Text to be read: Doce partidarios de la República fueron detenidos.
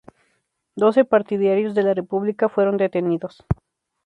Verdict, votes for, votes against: accepted, 2, 0